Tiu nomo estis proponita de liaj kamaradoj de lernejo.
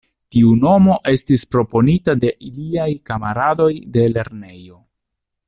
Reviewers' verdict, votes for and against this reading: rejected, 0, 2